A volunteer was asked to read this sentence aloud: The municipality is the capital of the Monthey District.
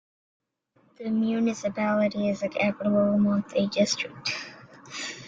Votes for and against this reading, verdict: 0, 2, rejected